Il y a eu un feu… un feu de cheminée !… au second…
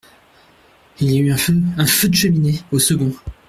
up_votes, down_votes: 2, 0